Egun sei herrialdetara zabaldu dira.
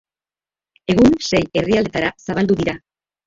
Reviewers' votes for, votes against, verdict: 2, 0, accepted